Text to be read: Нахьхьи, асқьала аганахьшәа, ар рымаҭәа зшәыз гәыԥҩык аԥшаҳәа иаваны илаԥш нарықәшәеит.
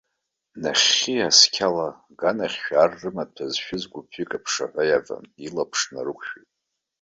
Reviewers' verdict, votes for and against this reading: rejected, 1, 2